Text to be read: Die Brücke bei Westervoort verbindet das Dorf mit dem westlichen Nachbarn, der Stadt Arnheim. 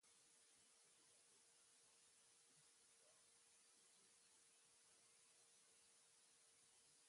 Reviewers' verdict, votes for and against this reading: rejected, 0, 2